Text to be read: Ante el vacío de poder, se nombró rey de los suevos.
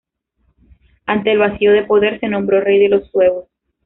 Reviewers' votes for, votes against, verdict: 1, 2, rejected